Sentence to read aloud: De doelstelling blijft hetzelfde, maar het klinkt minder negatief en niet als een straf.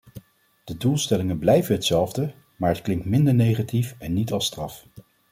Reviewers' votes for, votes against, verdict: 1, 2, rejected